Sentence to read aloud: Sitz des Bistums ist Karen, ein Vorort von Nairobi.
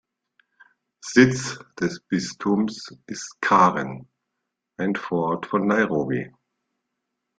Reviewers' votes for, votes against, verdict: 2, 0, accepted